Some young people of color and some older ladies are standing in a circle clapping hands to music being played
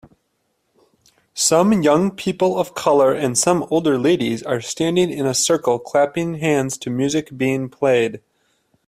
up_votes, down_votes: 2, 0